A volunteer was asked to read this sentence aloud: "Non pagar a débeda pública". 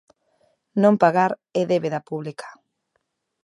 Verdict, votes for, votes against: rejected, 0, 2